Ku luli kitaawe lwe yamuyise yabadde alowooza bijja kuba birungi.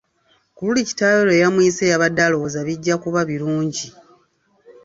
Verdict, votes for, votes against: accepted, 2, 0